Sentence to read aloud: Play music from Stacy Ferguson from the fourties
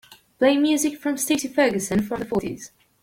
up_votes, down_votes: 2, 0